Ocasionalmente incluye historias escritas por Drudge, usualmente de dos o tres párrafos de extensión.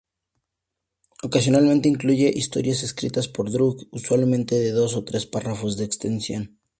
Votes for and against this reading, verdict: 2, 0, accepted